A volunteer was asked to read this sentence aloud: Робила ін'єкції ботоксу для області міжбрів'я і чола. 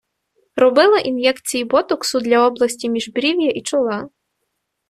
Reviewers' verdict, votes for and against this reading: accepted, 2, 0